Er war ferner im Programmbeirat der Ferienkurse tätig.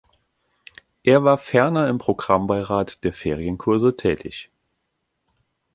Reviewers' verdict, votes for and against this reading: accepted, 2, 0